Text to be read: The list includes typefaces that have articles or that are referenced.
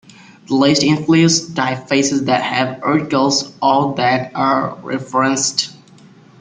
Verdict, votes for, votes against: rejected, 1, 2